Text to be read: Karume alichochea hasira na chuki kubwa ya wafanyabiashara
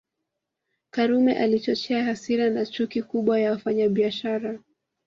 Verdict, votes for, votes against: accepted, 2, 0